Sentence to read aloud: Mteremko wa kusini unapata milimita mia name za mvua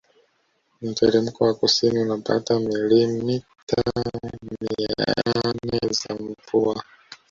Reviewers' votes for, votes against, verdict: 0, 2, rejected